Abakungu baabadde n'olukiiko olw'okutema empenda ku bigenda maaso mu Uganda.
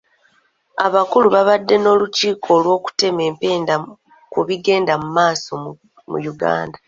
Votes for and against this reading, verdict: 0, 2, rejected